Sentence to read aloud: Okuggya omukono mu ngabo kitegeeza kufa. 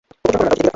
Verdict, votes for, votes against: rejected, 0, 2